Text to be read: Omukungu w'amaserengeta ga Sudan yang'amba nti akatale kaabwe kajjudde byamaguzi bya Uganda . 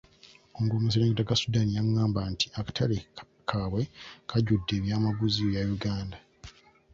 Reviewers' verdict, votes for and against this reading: rejected, 0, 2